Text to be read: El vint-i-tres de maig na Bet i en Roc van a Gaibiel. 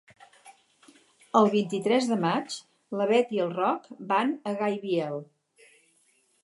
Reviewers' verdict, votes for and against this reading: rejected, 4, 4